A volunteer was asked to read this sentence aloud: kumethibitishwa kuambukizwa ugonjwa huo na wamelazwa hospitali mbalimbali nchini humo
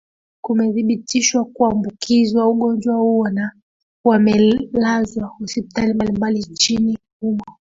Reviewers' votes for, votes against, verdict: 0, 2, rejected